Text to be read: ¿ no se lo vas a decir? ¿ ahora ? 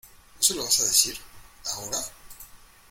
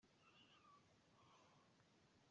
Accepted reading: first